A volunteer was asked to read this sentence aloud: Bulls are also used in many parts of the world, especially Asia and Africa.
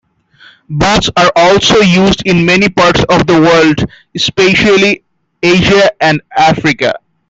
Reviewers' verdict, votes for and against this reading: rejected, 0, 2